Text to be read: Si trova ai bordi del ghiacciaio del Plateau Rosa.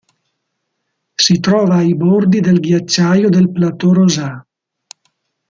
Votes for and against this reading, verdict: 1, 2, rejected